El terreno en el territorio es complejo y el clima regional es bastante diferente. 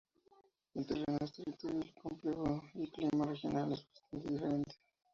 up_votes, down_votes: 0, 2